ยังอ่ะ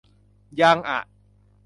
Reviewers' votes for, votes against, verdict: 3, 0, accepted